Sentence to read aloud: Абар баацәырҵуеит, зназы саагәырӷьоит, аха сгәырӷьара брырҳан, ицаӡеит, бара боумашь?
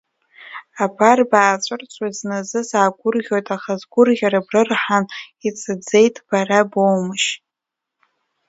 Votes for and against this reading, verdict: 2, 1, accepted